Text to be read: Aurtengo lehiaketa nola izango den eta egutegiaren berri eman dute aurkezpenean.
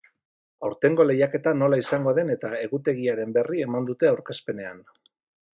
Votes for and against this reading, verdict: 2, 0, accepted